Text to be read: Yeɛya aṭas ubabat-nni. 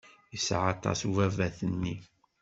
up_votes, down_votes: 2, 0